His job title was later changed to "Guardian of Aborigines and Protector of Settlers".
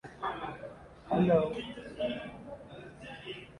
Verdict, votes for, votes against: rejected, 0, 2